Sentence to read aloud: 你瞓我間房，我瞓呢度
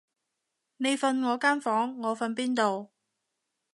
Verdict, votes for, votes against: rejected, 0, 2